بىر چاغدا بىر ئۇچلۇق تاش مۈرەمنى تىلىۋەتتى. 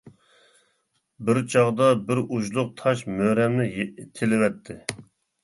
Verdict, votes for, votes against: rejected, 1, 2